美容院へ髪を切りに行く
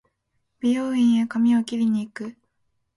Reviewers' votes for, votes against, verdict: 2, 0, accepted